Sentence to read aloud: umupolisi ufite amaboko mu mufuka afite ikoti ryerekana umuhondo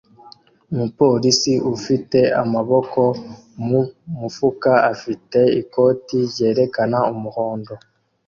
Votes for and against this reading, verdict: 2, 0, accepted